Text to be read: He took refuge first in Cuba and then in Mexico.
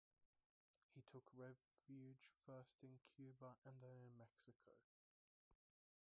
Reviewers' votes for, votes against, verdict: 1, 2, rejected